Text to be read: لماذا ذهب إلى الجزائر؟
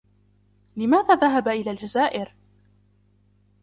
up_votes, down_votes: 2, 0